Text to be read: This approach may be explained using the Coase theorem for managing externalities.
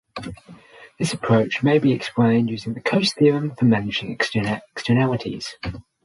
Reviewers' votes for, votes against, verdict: 0, 6, rejected